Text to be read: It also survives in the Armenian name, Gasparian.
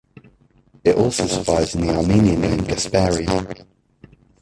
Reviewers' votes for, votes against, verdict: 0, 2, rejected